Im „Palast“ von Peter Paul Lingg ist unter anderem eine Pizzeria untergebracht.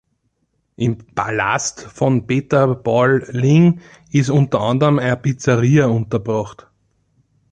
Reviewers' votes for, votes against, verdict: 4, 2, accepted